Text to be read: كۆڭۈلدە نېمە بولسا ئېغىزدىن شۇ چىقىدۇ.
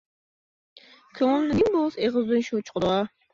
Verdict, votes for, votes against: rejected, 1, 2